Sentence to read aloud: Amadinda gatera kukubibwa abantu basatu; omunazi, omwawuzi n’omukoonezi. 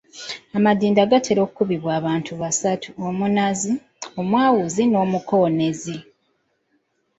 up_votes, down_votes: 0, 2